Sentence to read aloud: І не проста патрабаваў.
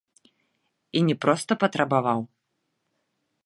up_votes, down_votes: 2, 3